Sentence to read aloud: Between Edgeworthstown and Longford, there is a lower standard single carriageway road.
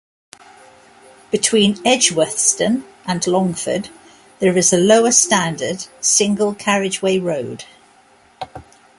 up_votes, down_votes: 2, 1